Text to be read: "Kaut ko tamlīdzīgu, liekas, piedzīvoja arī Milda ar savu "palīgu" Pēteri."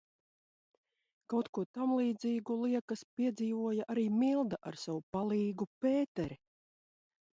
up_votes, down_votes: 2, 0